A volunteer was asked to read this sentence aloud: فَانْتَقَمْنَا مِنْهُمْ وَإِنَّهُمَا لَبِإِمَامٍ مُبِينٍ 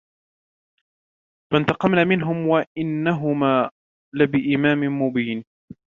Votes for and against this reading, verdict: 2, 0, accepted